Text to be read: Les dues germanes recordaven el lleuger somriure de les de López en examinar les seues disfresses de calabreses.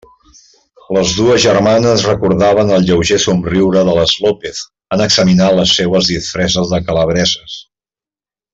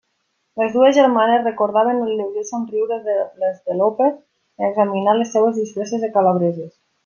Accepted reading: second